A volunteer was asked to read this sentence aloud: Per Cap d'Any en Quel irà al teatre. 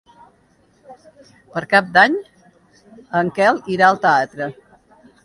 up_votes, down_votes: 1, 2